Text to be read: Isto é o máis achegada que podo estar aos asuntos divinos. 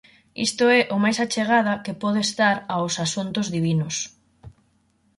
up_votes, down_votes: 4, 0